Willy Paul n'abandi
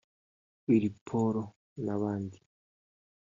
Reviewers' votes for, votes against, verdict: 1, 2, rejected